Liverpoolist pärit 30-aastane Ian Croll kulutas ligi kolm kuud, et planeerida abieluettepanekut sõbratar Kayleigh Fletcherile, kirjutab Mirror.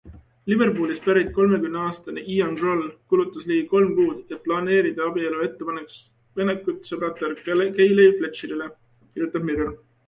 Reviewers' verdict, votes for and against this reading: rejected, 0, 2